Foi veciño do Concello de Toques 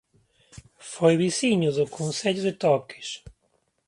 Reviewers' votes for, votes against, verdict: 2, 0, accepted